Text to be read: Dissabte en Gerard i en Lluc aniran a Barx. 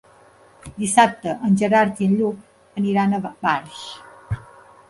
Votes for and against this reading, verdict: 2, 0, accepted